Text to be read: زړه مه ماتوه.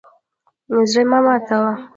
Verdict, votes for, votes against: rejected, 1, 2